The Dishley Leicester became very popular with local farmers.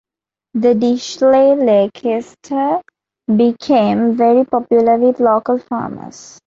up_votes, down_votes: 1, 2